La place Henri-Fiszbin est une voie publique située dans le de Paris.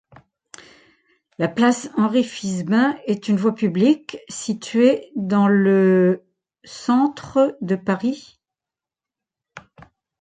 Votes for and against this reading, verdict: 0, 2, rejected